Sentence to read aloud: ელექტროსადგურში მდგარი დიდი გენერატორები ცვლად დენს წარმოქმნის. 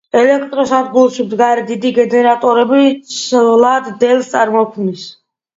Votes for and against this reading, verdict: 2, 0, accepted